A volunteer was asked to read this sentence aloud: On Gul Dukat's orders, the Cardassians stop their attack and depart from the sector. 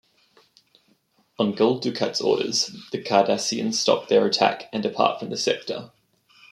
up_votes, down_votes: 1, 2